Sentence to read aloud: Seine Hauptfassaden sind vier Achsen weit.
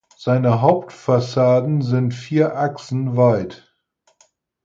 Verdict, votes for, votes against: accepted, 4, 0